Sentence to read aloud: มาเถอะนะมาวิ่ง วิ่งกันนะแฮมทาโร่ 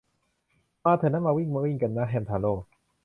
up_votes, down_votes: 1, 2